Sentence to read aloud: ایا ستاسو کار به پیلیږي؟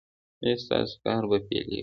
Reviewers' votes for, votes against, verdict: 2, 0, accepted